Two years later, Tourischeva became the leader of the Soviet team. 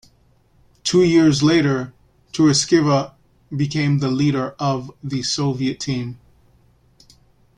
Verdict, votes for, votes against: accepted, 2, 1